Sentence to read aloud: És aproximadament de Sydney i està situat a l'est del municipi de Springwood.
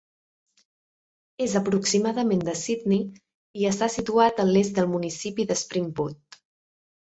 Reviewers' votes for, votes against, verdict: 2, 0, accepted